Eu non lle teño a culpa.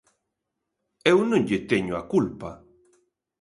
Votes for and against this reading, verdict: 2, 0, accepted